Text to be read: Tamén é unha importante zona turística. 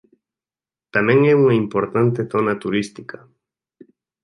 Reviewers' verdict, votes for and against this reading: accepted, 2, 1